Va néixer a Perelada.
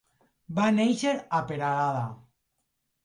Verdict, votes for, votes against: accepted, 2, 0